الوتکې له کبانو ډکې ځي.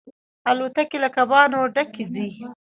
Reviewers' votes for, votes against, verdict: 0, 2, rejected